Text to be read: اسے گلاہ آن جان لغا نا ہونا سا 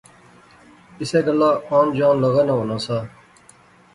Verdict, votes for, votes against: accepted, 2, 0